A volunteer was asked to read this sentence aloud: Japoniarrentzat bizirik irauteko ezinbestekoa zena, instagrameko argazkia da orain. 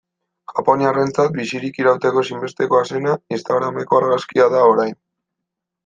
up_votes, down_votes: 2, 0